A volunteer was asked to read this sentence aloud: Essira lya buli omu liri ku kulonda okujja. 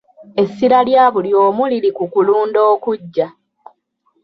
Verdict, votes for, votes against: accepted, 2, 0